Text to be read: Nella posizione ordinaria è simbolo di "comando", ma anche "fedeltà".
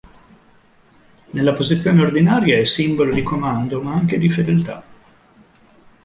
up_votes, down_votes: 0, 2